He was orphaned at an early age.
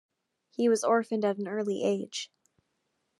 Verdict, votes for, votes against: accepted, 2, 0